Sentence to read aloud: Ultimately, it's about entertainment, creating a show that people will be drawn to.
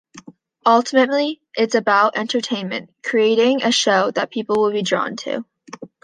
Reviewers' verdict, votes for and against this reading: accepted, 2, 1